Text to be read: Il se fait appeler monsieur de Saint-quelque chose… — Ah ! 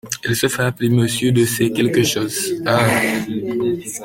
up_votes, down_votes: 2, 0